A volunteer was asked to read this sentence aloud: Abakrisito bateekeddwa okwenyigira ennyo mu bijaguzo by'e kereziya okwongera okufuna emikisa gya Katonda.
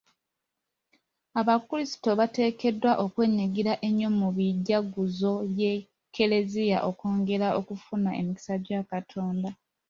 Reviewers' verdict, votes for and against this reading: rejected, 1, 2